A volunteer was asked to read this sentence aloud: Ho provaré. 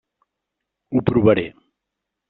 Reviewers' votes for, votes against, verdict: 1, 2, rejected